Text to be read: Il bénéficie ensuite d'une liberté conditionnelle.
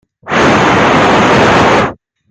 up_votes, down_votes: 0, 2